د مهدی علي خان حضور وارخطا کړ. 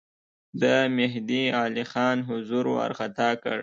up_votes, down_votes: 2, 0